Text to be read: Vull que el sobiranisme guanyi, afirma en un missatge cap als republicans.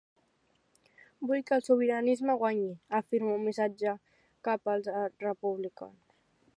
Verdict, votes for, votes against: rejected, 0, 2